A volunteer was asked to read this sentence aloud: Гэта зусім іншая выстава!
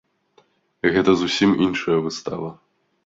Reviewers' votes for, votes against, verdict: 2, 1, accepted